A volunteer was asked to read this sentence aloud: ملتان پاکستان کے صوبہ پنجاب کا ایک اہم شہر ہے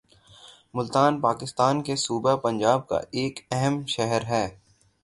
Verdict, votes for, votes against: accepted, 6, 0